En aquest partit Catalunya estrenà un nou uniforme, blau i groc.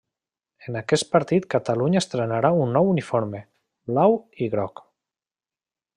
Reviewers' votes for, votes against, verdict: 0, 2, rejected